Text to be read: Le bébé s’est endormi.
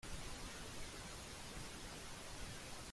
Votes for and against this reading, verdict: 0, 2, rejected